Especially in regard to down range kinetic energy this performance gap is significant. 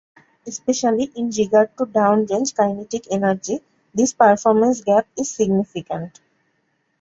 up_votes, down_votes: 1, 2